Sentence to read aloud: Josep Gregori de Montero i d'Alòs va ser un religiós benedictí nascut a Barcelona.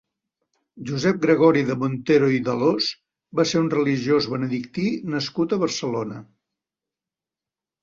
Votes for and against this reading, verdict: 0, 2, rejected